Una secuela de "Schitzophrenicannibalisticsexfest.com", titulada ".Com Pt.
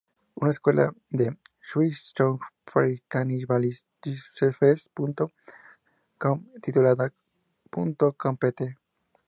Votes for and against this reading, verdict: 2, 0, accepted